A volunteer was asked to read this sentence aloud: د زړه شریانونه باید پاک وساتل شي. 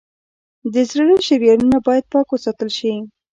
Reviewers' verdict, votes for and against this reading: accepted, 2, 0